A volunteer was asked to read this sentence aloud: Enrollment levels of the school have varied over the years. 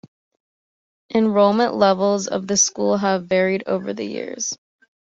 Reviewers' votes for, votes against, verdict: 2, 0, accepted